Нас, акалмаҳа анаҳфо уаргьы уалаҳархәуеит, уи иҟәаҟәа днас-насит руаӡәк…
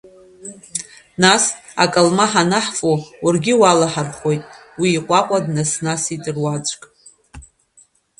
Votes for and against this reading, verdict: 1, 2, rejected